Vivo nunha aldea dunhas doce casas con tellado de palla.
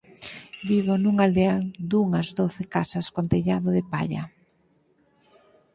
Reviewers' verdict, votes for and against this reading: accepted, 4, 0